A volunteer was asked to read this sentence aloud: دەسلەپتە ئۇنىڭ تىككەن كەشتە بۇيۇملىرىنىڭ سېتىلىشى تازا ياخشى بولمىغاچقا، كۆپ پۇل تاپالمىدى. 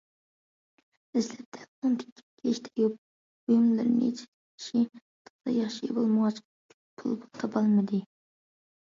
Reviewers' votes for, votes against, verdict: 0, 2, rejected